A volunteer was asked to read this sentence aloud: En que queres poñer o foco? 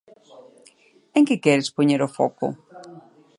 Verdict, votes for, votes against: accepted, 2, 0